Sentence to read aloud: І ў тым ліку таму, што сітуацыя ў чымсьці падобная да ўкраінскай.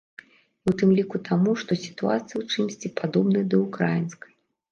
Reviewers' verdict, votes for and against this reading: rejected, 1, 2